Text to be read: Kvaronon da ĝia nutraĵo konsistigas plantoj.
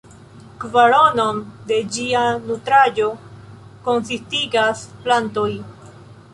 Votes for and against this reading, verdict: 0, 2, rejected